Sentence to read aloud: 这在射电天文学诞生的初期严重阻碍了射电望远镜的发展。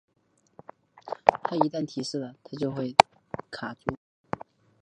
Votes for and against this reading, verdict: 0, 5, rejected